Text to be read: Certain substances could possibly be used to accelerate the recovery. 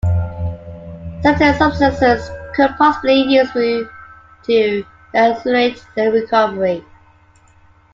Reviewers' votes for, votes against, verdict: 1, 3, rejected